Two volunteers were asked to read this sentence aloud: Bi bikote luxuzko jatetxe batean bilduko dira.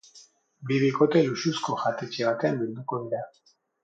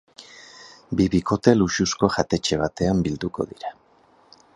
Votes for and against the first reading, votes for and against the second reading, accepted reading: 2, 4, 4, 0, second